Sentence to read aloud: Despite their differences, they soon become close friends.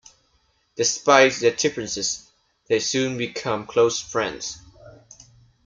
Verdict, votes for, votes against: accepted, 2, 0